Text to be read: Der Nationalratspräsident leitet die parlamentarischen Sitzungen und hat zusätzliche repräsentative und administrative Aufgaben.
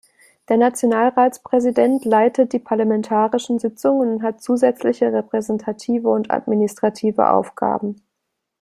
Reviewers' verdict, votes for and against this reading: accepted, 2, 0